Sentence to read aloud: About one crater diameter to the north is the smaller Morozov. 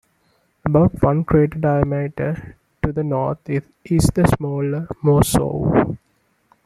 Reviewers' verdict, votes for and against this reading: accepted, 2, 1